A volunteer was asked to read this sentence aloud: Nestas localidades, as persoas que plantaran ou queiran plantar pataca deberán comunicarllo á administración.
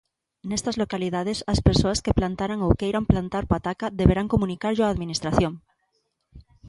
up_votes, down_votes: 2, 0